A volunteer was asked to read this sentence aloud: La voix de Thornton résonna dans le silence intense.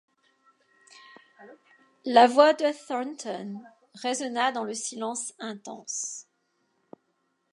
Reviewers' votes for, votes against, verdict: 2, 0, accepted